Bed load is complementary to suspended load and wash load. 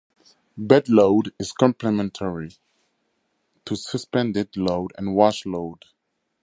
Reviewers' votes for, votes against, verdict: 2, 0, accepted